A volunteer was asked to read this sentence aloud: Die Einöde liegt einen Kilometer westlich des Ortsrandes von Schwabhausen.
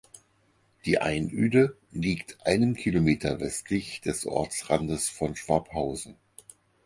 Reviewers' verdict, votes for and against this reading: accepted, 6, 0